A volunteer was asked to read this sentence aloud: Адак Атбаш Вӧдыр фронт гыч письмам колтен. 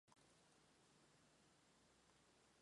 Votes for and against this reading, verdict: 0, 2, rejected